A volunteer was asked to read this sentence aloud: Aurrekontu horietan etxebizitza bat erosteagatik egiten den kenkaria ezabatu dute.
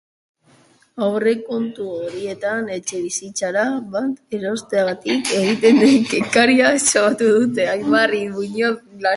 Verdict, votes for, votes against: rejected, 0, 2